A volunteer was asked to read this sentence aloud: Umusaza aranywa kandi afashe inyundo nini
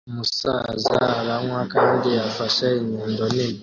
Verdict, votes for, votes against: accepted, 2, 0